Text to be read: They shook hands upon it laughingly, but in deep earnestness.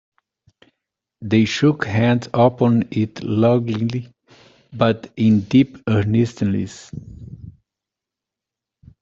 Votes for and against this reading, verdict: 1, 2, rejected